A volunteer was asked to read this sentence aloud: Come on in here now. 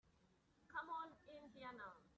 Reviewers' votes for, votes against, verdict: 0, 2, rejected